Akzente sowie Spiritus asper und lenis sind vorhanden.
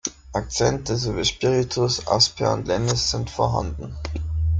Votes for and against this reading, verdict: 3, 0, accepted